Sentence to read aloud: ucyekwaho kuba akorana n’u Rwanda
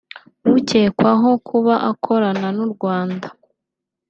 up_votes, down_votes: 2, 1